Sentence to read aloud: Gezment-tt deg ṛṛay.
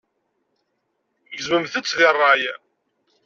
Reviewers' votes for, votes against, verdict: 1, 2, rejected